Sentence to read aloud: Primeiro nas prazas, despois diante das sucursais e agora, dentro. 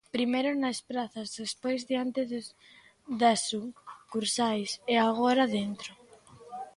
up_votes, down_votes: 0, 2